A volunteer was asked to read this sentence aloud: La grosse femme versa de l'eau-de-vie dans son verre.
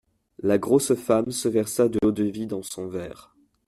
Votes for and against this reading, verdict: 1, 2, rejected